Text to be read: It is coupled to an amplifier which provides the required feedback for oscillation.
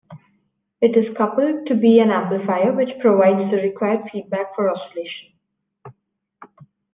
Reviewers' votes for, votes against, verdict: 1, 2, rejected